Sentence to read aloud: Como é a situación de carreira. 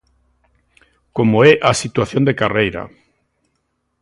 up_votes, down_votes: 2, 0